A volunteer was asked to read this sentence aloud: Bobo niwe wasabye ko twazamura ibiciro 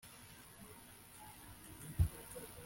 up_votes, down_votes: 0, 2